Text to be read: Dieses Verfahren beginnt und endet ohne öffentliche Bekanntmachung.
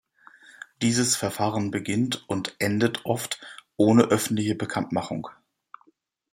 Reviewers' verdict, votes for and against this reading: rejected, 0, 2